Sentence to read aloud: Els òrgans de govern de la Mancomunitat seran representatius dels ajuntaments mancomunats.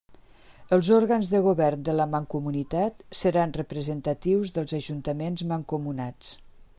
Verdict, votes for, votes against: accepted, 3, 0